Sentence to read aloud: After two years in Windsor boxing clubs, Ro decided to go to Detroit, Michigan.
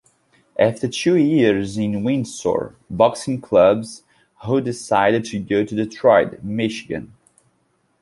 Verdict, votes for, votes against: accepted, 2, 1